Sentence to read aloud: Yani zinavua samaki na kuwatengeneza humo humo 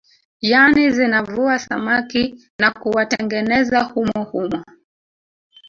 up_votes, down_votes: 1, 2